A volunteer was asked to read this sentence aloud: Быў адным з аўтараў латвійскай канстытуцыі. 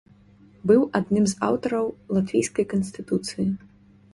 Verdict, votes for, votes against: accepted, 2, 0